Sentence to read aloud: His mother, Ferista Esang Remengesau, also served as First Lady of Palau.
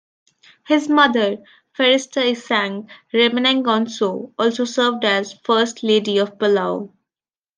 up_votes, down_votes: 0, 2